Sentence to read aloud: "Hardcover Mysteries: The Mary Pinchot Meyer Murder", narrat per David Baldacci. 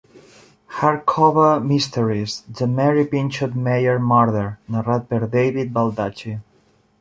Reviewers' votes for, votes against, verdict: 0, 2, rejected